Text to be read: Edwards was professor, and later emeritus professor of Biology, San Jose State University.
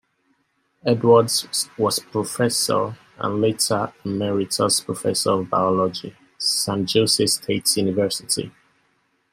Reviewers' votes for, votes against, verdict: 0, 2, rejected